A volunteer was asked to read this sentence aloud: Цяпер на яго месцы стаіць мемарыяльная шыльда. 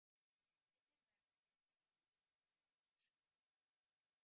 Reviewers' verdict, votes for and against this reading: rejected, 1, 2